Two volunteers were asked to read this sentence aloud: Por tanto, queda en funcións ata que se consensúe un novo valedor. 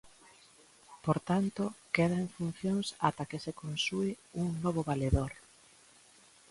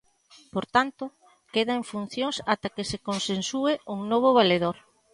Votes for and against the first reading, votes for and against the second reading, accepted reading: 1, 2, 2, 0, second